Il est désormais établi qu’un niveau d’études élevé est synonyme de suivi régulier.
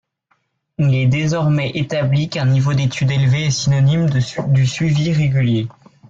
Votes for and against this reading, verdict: 2, 3, rejected